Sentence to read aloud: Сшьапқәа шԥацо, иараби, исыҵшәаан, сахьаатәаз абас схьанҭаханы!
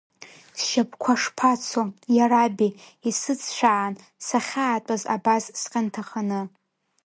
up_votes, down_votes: 0, 2